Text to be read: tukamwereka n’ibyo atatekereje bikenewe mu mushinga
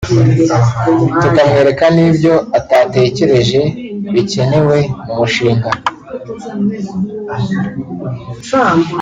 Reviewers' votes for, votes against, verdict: 1, 2, rejected